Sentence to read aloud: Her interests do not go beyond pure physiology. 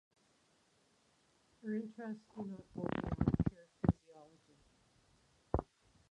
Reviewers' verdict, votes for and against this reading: rejected, 0, 4